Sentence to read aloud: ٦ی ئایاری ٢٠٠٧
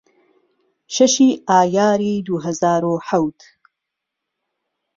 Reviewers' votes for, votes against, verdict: 0, 2, rejected